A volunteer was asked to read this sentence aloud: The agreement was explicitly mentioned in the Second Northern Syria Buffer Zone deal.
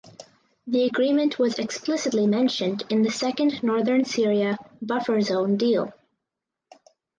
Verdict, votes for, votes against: accepted, 4, 0